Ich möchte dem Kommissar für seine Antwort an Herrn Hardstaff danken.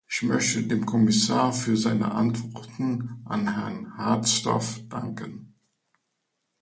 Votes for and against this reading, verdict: 0, 2, rejected